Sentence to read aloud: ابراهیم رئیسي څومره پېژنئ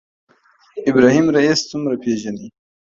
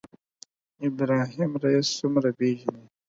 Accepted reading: second